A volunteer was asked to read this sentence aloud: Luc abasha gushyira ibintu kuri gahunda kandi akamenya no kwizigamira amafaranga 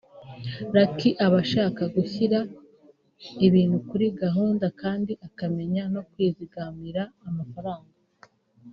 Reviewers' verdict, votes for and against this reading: accepted, 2, 1